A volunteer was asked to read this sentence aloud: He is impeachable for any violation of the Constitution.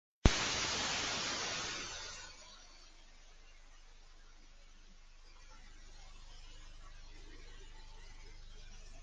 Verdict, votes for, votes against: rejected, 0, 2